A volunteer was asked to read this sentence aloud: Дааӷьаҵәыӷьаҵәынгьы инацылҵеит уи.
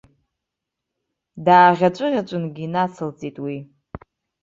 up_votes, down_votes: 0, 2